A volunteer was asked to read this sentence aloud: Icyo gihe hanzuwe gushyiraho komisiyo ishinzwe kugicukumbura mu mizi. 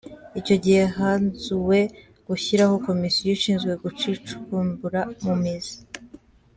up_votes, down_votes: 0, 2